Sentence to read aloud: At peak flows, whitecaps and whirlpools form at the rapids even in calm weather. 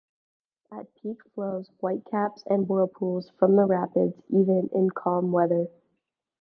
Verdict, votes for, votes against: rejected, 1, 2